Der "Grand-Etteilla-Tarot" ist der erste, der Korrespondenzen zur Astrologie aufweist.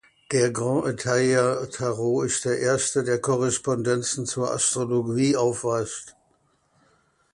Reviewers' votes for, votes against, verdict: 1, 2, rejected